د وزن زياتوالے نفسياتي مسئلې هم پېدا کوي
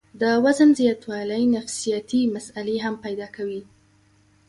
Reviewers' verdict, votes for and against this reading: accepted, 2, 0